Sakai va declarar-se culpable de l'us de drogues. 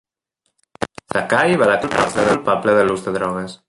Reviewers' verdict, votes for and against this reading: rejected, 0, 2